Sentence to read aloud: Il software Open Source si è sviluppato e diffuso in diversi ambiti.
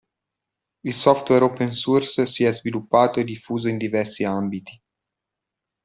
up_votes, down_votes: 2, 0